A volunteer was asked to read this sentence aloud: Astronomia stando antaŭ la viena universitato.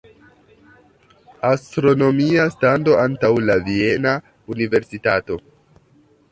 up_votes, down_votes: 2, 0